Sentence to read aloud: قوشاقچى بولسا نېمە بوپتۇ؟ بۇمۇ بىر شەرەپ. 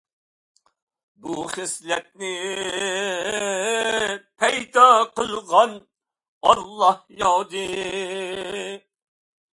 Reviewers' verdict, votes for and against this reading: rejected, 0, 2